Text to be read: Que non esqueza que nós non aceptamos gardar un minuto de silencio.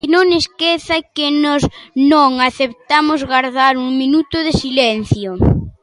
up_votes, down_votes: 0, 2